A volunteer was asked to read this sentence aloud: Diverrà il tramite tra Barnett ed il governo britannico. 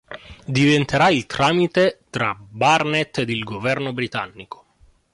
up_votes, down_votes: 0, 2